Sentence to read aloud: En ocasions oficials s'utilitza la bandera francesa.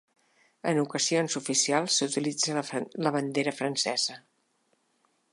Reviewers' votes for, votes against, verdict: 1, 3, rejected